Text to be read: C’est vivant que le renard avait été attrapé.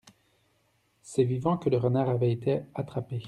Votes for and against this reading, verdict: 2, 0, accepted